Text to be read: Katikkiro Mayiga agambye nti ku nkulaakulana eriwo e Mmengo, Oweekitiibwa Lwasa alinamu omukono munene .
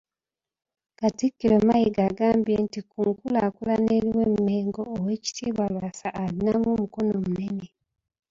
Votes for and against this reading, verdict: 2, 1, accepted